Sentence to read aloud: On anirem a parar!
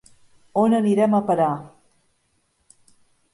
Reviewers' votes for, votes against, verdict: 4, 0, accepted